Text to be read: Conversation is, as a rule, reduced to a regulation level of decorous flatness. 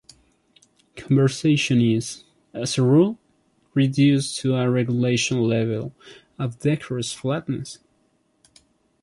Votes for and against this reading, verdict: 2, 1, accepted